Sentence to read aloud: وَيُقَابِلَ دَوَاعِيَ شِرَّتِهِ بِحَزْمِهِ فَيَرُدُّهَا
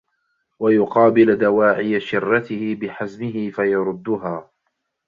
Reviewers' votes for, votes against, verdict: 2, 0, accepted